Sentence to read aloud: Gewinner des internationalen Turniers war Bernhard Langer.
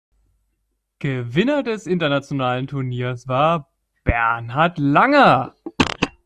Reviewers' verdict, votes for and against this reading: accepted, 2, 0